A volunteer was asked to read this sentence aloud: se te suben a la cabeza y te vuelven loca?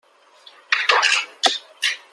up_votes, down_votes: 0, 2